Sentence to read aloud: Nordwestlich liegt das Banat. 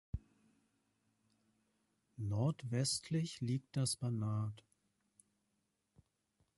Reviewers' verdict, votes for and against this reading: accepted, 2, 0